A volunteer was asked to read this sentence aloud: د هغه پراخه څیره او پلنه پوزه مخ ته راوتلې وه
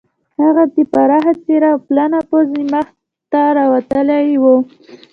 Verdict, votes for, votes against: accepted, 2, 0